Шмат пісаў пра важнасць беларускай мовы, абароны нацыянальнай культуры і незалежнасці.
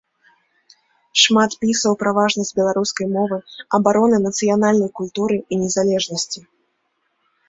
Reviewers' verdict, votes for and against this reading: rejected, 2, 3